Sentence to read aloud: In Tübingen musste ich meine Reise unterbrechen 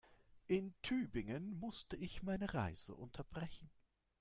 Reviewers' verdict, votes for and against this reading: accepted, 3, 0